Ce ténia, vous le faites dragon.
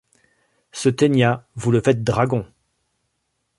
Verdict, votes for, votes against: accepted, 3, 0